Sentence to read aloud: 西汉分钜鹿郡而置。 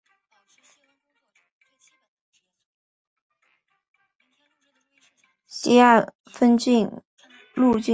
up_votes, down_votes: 2, 7